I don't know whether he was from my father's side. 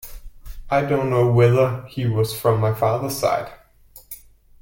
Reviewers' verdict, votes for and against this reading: accepted, 2, 0